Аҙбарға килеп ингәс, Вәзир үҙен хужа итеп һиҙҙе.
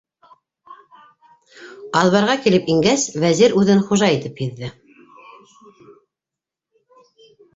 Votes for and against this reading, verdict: 1, 2, rejected